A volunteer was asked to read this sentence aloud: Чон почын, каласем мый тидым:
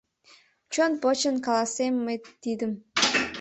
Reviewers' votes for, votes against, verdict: 2, 0, accepted